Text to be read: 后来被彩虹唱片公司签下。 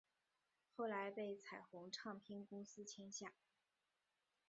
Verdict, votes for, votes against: rejected, 0, 2